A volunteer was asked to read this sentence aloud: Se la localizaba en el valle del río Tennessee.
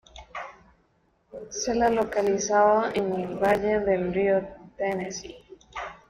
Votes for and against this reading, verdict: 1, 2, rejected